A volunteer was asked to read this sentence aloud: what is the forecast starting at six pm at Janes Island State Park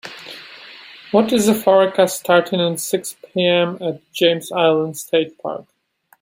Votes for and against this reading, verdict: 2, 0, accepted